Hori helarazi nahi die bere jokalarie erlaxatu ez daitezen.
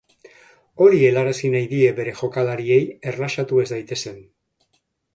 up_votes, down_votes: 3, 0